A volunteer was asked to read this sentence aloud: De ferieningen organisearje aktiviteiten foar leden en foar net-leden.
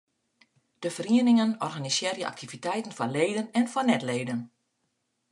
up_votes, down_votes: 3, 0